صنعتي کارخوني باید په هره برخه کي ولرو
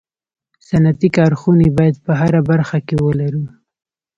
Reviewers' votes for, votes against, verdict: 2, 0, accepted